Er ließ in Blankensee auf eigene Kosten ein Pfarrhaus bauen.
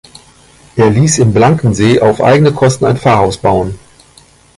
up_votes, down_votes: 2, 1